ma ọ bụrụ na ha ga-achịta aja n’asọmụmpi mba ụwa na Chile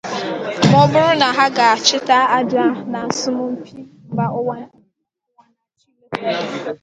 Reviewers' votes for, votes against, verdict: 0, 2, rejected